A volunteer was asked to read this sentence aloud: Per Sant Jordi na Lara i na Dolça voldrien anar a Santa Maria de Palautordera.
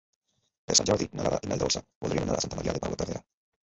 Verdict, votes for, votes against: rejected, 0, 2